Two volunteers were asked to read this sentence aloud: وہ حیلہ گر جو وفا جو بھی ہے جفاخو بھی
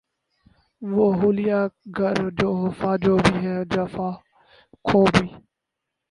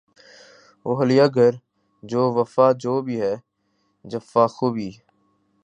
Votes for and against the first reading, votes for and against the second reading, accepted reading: 2, 2, 3, 1, second